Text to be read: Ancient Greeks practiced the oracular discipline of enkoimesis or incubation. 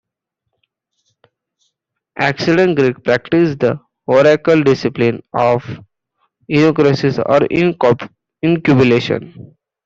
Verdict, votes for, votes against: rejected, 0, 2